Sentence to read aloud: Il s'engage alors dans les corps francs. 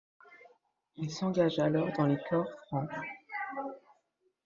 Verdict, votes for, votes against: accepted, 2, 0